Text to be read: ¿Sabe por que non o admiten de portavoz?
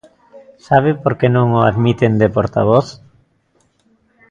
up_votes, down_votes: 2, 0